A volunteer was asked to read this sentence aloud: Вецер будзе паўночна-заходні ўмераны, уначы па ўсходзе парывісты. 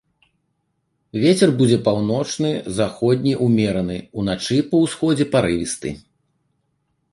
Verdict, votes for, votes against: rejected, 0, 2